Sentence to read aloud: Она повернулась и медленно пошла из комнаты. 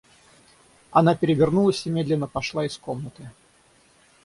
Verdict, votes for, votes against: rejected, 0, 6